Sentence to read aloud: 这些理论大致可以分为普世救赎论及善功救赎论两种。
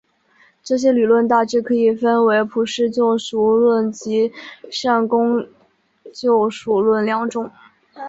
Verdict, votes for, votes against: rejected, 1, 3